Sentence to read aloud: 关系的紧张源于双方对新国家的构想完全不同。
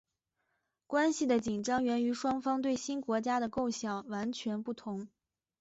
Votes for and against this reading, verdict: 2, 0, accepted